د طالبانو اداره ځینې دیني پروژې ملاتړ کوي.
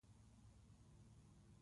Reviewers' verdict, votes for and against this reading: rejected, 0, 2